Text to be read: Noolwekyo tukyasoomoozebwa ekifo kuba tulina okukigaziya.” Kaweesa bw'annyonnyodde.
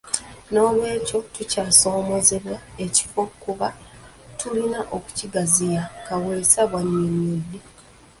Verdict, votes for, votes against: rejected, 0, 2